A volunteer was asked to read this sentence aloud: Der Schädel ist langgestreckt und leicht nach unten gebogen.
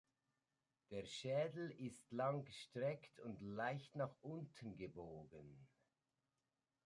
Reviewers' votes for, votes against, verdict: 0, 2, rejected